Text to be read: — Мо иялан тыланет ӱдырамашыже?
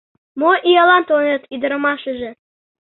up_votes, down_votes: 2, 0